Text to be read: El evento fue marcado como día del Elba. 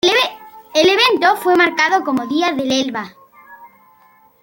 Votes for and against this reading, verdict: 2, 1, accepted